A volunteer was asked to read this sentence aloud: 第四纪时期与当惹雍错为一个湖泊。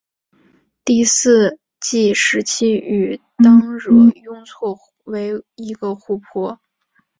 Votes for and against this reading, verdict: 0, 2, rejected